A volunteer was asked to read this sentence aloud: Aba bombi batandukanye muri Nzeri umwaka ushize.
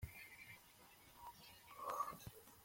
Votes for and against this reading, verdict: 0, 2, rejected